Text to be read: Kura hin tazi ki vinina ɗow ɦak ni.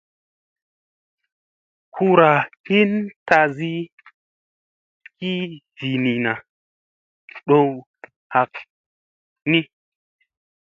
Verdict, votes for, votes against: accepted, 2, 0